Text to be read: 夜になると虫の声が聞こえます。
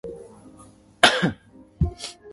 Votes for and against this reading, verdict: 1, 2, rejected